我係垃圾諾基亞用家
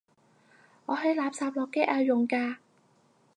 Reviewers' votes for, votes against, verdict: 0, 4, rejected